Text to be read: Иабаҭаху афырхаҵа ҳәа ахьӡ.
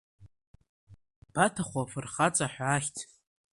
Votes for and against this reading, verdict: 2, 1, accepted